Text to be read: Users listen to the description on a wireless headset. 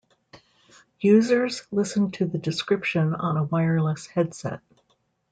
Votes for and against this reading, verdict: 2, 0, accepted